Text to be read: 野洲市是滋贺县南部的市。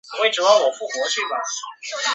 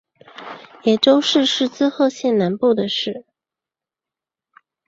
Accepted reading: second